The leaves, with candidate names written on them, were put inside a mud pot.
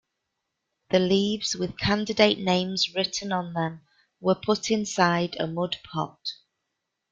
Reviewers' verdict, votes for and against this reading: accepted, 2, 0